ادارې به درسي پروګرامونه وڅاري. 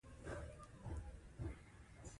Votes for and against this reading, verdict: 2, 1, accepted